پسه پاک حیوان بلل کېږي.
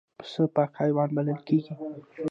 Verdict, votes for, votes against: rejected, 0, 2